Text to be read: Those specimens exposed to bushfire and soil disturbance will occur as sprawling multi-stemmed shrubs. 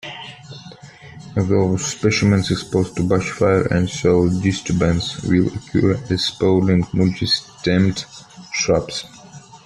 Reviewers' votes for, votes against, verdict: 2, 1, accepted